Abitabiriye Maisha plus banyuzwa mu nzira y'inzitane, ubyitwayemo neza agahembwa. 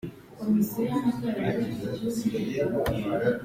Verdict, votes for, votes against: rejected, 0, 3